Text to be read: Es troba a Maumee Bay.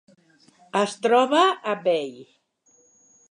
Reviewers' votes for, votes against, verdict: 0, 2, rejected